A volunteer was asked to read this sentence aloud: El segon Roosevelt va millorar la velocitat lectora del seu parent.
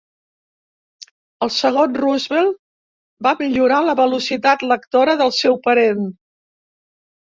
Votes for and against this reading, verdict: 3, 0, accepted